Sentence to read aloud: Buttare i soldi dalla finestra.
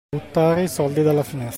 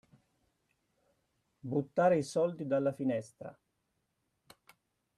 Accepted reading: second